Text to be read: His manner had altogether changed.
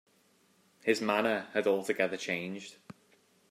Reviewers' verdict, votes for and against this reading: accepted, 2, 0